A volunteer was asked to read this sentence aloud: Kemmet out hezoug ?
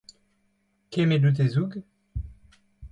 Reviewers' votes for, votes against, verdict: 2, 0, accepted